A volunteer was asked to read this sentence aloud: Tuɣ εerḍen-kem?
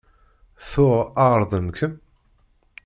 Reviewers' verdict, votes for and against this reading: rejected, 1, 2